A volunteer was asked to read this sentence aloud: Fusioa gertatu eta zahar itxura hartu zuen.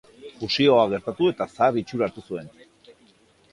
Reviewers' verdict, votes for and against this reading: accepted, 2, 0